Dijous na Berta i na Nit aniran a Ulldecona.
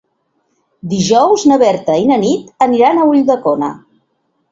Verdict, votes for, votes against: accepted, 2, 0